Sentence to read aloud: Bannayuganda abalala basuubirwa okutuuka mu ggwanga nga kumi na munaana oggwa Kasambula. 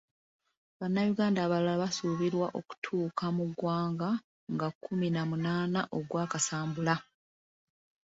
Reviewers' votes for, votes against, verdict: 3, 0, accepted